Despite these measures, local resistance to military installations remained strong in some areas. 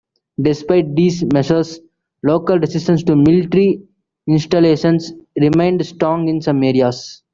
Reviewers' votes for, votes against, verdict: 2, 0, accepted